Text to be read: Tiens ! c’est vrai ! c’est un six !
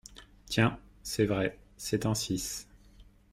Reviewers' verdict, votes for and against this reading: accepted, 2, 0